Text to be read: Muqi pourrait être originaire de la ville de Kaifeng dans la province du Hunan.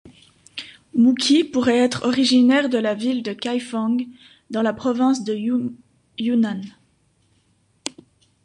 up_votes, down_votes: 1, 2